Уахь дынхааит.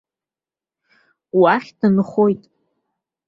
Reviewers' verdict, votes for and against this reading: rejected, 0, 2